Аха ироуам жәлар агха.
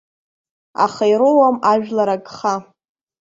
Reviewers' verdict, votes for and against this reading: accepted, 2, 1